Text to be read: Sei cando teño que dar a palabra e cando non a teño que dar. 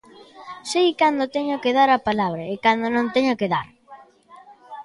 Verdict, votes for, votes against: rejected, 0, 2